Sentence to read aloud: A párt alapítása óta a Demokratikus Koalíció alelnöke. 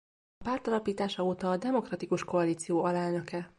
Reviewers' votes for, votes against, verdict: 0, 2, rejected